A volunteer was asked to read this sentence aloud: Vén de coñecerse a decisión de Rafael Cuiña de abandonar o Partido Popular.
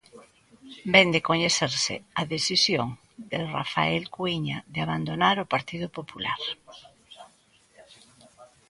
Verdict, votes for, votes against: rejected, 1, 2